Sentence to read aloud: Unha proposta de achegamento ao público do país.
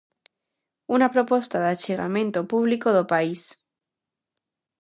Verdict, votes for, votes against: rejected, 0, 2